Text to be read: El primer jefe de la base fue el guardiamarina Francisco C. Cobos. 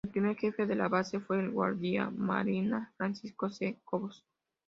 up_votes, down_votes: 2, 0